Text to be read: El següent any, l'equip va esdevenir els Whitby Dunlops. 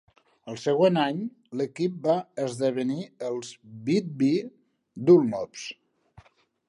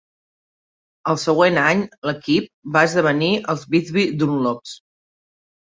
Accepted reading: second